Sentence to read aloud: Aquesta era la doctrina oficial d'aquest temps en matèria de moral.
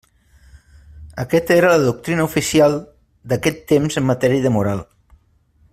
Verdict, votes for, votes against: rejected, 0, 2